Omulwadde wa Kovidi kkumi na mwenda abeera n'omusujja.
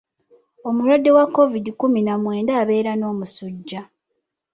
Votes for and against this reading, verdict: 0, 2, rejected